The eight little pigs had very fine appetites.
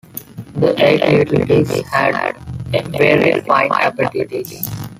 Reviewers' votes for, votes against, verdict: 0, 2, rejected